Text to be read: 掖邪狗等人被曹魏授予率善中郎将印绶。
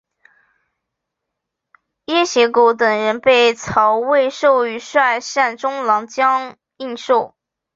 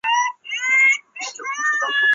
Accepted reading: first